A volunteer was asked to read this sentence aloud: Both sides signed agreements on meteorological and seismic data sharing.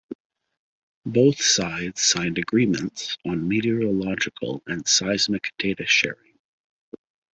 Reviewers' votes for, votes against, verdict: 2, 1, accepted